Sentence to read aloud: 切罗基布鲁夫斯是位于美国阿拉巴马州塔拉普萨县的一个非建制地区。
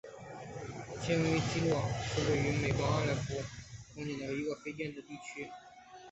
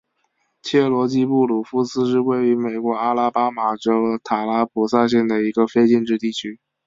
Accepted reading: second